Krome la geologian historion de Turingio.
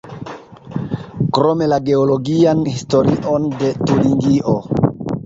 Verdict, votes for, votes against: accepted, 2, 0